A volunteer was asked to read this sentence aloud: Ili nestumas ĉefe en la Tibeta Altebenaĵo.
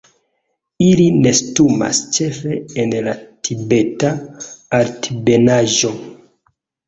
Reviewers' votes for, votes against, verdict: 0, 2, rejected